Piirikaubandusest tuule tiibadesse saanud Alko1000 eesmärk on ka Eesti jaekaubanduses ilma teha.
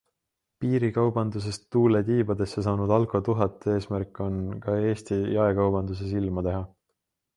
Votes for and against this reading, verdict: 0, 2, rejected